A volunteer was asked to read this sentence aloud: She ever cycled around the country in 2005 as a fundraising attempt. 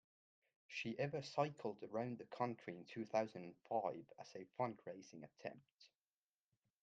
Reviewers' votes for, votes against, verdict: 0, 2, rejected